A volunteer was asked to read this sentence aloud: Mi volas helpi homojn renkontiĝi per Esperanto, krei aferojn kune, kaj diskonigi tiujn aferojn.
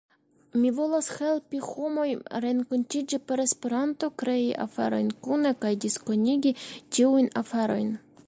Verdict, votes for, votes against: rejected, 1, 2